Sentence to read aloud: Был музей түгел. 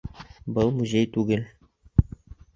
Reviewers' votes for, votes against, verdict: 2, 0, accepted